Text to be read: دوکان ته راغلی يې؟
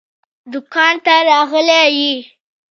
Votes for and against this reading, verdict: 2, 0, accepted